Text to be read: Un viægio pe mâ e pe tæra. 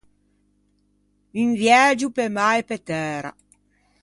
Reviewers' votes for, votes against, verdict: 2, 0, accepted